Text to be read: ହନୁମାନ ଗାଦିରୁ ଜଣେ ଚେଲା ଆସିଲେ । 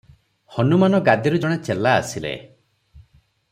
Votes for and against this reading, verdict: 3, 0, accepted